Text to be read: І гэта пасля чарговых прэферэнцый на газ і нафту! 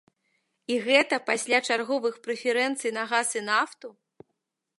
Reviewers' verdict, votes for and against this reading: accepted, 2, 0